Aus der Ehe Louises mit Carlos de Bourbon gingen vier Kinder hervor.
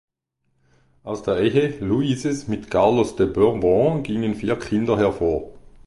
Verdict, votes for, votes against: accepted, 2, 0